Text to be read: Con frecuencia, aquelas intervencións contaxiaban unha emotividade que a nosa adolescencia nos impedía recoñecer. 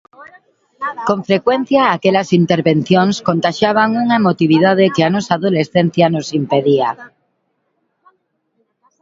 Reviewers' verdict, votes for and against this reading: rejected, 1, 2